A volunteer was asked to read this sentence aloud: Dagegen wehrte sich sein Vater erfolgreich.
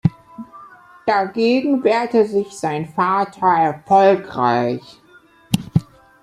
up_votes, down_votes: 2, 1